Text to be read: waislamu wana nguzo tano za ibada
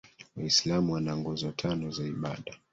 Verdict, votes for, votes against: rejected, 1, 2